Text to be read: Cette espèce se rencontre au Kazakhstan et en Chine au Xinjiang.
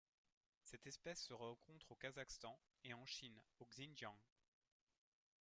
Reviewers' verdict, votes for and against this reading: rejected, 1, 2